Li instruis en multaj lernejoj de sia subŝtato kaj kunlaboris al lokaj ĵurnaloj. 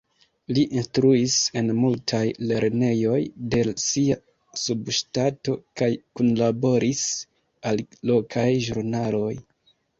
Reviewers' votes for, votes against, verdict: 1, 2, rejected